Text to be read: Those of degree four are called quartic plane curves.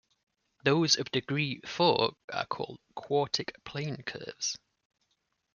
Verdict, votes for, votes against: accepted, 2, 0